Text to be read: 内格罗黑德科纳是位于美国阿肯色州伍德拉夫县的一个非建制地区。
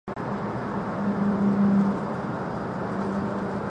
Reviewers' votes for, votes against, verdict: 0, 2, rejected